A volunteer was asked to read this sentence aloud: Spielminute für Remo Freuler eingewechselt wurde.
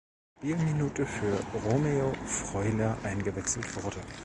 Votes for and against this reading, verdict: 1, 2, rejected